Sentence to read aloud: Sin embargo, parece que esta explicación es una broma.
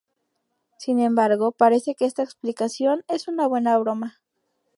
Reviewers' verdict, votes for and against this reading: rejected, 0, 2